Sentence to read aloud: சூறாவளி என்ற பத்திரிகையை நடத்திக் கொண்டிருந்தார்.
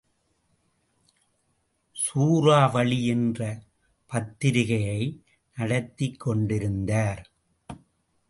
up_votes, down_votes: 1, 2